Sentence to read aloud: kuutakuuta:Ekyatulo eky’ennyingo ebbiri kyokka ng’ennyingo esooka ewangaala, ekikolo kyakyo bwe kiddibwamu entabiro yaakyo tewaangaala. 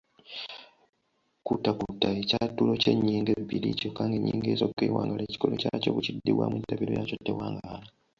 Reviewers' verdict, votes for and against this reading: accepted, 2, 1